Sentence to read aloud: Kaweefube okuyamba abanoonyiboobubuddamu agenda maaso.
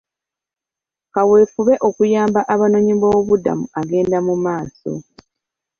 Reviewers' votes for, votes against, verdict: 3, 1, accepted